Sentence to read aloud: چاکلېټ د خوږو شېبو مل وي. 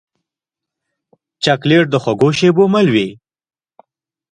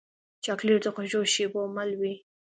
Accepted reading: second